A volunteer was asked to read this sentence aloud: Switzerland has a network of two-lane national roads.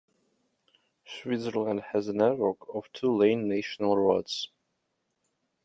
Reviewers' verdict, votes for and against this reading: rejected, 0, 2